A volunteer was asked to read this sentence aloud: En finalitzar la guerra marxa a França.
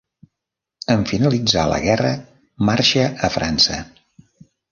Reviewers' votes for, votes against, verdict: 3, 0, accepted